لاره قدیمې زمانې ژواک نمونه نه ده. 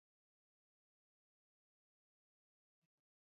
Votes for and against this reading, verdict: 2, 1, accepted